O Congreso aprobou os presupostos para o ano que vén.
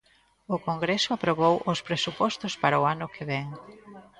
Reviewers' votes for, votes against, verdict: 1, 2, rejected